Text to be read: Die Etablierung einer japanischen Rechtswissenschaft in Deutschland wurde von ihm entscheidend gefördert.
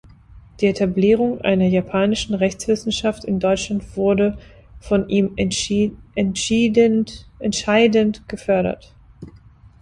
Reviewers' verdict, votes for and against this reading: rejected, 0, 2